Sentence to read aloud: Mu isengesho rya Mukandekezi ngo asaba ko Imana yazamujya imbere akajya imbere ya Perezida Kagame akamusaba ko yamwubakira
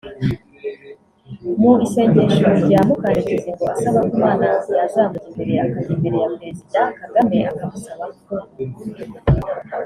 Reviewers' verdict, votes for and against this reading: rejected, 0, 2